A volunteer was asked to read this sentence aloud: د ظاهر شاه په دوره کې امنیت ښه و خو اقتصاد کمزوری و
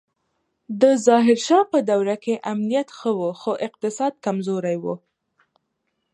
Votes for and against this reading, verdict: 2, 0, accepted